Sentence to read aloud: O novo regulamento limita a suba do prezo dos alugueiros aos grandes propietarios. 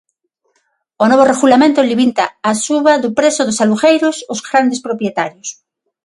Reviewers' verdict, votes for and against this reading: rejected, 3, 3